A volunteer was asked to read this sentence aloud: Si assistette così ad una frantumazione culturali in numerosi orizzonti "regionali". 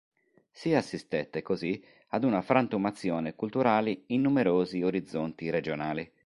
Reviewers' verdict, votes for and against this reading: accepted, 2, 1